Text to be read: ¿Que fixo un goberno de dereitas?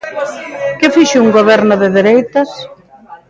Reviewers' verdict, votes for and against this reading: rejected, 1, 2